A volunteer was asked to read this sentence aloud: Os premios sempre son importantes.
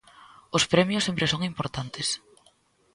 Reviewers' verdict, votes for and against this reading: accepted, 2, 0